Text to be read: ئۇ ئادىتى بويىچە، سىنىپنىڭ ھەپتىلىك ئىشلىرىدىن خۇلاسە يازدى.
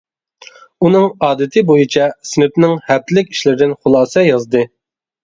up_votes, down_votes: 0, 2